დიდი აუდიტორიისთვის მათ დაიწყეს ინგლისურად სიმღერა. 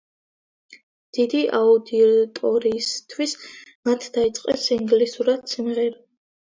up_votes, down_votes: 0, 2